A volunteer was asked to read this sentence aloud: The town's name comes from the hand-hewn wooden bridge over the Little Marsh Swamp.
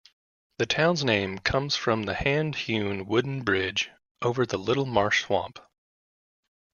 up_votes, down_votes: 0, 2